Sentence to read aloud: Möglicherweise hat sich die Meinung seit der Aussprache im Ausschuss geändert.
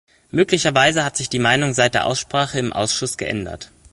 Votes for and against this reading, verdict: 3, 0, accepted